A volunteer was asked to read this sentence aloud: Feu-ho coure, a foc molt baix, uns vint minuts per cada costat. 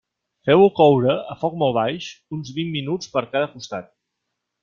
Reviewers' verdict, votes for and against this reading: accepted, 5, 0